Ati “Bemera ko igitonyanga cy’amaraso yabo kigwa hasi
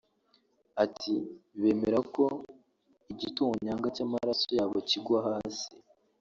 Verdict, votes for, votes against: rejected, 0, 2